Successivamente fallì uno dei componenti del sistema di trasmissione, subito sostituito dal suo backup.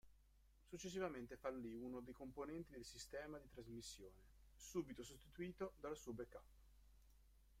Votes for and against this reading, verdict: 1, 2, rejected